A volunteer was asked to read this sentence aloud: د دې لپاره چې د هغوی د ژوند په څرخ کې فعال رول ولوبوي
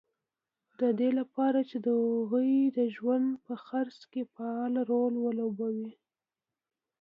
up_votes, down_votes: 2, 0